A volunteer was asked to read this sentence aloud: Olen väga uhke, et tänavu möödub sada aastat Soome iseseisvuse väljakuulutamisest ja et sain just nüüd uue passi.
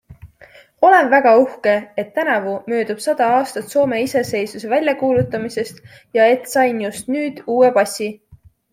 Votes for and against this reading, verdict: 2, 0, accepted